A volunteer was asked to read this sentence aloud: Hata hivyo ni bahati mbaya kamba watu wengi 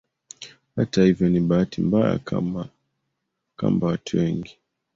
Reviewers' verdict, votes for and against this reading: rejected, 1, 2